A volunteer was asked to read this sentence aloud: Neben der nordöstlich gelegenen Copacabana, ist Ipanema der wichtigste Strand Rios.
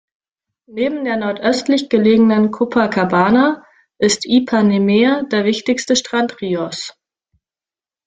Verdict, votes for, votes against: rejected, 0, 2